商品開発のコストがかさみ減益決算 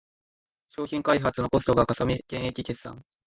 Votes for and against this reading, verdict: 2, 0, accepted